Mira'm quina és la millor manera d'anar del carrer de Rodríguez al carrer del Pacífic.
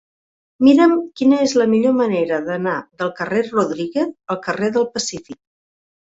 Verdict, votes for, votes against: rejected, 0, 2